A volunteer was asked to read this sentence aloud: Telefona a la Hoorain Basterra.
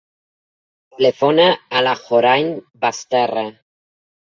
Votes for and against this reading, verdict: 1, 2, rejected